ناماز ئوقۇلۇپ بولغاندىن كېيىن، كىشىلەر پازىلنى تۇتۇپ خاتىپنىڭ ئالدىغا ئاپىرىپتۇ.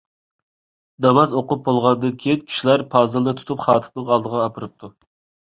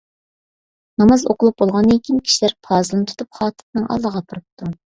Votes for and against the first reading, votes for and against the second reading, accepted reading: 1, 2, 2, 0, second